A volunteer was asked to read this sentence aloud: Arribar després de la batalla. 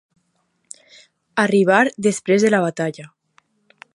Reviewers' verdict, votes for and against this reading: accepted, 2, 1